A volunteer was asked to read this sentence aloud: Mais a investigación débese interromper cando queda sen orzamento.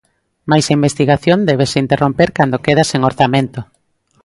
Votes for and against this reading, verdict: 2, 0, accepted